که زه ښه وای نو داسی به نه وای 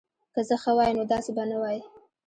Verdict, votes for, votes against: rejected, 1, 2